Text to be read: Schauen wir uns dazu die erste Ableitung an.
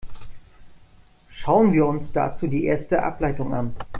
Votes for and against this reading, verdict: 2, 0, accepted